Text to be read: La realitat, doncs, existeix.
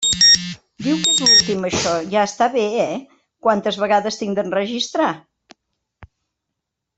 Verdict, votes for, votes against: rejected, 0, 2